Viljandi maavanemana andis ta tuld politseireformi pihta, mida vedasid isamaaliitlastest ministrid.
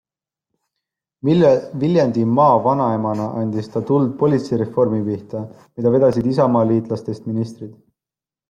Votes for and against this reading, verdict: 1, 2, rejected